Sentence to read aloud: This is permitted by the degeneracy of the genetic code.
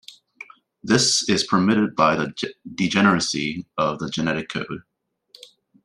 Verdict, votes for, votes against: rejected, 1, 2